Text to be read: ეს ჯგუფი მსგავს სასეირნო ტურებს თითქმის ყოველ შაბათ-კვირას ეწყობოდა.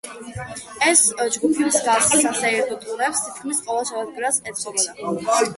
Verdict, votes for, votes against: rejected, 1, 2